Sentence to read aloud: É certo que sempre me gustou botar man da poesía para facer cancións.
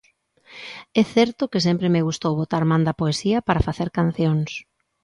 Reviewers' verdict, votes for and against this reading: accepted, 2, 0